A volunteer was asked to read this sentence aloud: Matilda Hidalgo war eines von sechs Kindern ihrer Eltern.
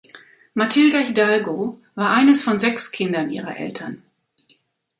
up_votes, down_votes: 2, 0